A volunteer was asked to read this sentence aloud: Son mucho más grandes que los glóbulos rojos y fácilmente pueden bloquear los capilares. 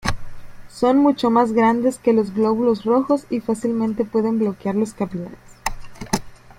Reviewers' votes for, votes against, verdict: 2, 0, accepted